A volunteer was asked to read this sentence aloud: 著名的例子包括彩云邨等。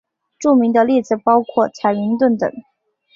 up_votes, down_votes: 2, 0